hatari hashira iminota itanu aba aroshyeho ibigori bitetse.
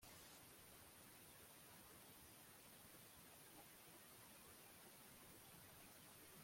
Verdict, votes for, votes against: rejected, 0, 2